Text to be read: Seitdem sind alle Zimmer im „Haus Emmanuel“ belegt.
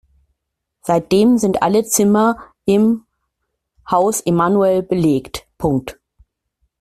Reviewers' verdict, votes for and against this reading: rejected, 0, 2